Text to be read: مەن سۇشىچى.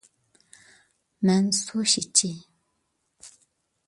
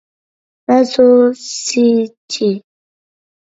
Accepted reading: first